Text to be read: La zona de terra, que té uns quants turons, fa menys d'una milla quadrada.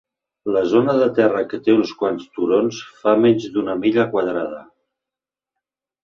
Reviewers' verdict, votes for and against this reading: accepted, 3, 0